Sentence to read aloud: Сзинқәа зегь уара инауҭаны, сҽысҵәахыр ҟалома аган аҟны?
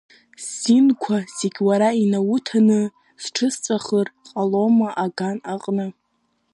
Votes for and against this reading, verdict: 2, 0, accepted